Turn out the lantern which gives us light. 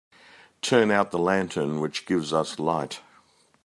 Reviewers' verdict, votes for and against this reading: accepted, 2, 0